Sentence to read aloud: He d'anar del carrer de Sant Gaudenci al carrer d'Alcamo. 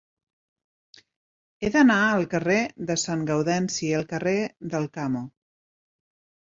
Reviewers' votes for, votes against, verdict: 0, 2, rejected